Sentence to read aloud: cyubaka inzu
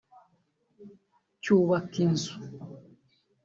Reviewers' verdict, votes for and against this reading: accepted, 2, 1